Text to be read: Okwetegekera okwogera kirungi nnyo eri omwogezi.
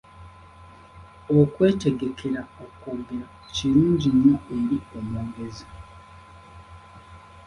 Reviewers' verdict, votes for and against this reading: rejected, 0, 2